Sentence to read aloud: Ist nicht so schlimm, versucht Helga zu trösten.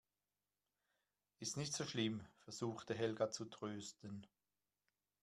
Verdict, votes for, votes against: rejected, 1, 2